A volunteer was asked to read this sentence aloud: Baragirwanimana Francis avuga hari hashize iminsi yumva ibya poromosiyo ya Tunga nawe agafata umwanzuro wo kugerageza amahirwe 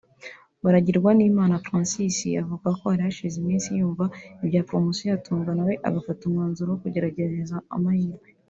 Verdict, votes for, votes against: rejected, 1, 2